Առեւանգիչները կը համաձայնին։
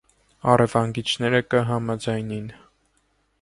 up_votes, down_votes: 2, 0